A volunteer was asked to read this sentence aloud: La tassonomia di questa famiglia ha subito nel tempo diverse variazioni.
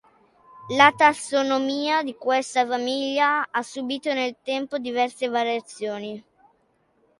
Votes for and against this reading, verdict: 2, 0, accepted